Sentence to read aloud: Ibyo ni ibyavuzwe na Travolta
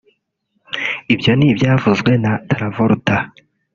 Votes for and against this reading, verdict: 0, 2, rejected